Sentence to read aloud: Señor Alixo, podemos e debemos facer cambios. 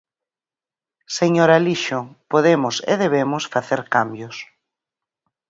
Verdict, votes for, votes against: accepted, 4, 0